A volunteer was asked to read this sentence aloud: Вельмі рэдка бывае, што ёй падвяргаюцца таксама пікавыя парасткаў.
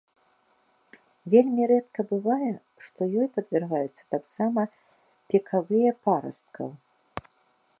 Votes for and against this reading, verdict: 2, 0, accepted